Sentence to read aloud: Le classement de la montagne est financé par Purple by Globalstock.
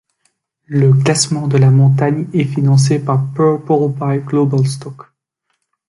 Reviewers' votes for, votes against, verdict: 2, 1, accepted